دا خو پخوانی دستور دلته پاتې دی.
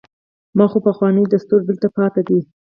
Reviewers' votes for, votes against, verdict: 4, 0, accepted